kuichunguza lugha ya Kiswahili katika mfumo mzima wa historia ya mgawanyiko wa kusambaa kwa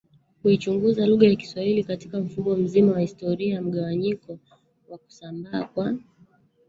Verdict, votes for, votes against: rejected, 1, 2